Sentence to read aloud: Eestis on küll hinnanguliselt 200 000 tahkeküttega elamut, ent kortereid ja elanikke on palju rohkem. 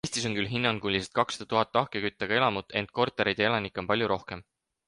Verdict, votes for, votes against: rejected, 0, 2